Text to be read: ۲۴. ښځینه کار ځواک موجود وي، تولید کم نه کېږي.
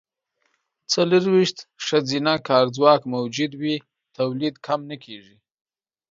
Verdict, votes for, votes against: rejected, 0, 2